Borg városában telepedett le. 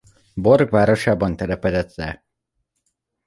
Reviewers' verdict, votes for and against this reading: accepted, 2, 0